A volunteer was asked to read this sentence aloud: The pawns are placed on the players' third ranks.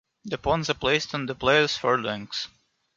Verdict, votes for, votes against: accepted, 2, 0